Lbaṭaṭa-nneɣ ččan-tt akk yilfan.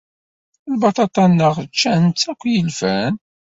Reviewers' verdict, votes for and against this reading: accepted, 2, 0